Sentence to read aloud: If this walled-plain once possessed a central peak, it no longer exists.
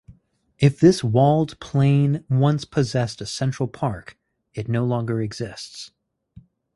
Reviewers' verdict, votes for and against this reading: rejected, 0, 4